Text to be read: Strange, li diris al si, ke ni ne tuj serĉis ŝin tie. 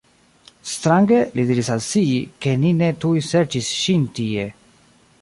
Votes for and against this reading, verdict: 1, 3, rejected